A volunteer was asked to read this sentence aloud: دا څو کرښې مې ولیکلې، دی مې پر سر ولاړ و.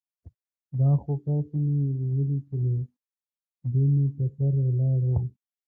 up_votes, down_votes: 0, 2